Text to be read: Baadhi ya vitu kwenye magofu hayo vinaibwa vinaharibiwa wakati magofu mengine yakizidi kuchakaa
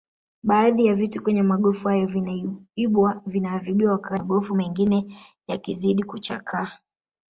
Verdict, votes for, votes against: rejected, 0, 2